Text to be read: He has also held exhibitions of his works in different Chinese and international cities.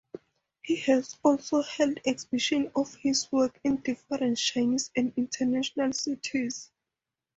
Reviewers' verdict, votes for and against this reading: rejected, 2, 2